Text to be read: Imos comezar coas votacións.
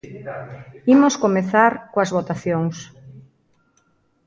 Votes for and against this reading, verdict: 2, 0, accepted